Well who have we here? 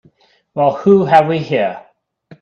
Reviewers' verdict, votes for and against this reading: accepted, 2, 0